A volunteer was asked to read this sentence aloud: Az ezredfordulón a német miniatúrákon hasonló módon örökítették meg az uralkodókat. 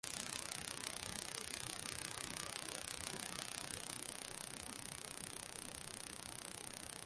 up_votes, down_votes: 0, 2